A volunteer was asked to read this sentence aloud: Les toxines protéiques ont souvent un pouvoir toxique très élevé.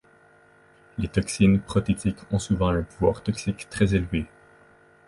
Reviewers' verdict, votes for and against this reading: rejected, 0, 2